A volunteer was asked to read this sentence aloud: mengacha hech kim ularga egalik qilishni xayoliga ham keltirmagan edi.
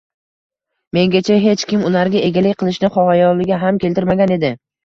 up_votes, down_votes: 1, 2